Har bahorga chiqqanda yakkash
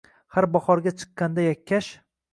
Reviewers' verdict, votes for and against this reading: accepted, 2, 0